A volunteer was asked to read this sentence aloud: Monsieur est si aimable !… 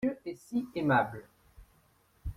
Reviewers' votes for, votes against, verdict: 0, 2, rejected